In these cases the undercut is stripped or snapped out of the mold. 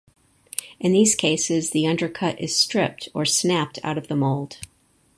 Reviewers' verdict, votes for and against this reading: accepted, 4, 0